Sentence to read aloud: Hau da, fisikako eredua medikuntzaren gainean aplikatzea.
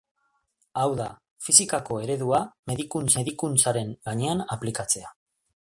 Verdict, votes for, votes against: rejected, 2, 3